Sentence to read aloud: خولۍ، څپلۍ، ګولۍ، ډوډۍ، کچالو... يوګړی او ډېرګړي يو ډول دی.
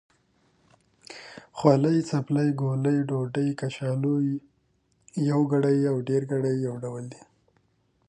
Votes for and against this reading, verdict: 2, 0, accepted